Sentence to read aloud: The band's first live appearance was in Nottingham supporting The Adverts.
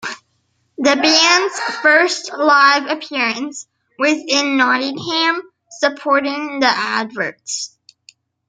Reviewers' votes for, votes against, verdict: 1, 2, rejected